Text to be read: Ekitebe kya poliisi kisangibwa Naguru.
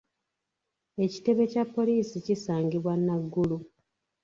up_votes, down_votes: 2, 0